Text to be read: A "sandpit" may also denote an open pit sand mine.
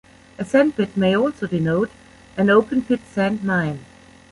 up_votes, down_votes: 2, 0